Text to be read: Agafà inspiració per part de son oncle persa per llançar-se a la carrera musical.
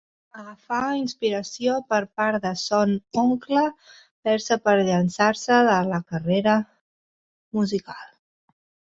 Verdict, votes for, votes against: rejected, 0, 2